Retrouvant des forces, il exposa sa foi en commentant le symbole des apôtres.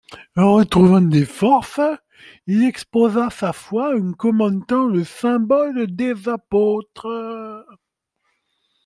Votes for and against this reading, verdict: 2, 0, accepted